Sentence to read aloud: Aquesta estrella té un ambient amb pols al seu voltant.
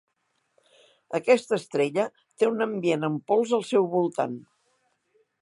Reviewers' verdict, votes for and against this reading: accepted, 3, 0